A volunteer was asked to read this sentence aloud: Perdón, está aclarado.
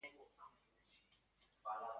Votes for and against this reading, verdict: 0, 2, rejected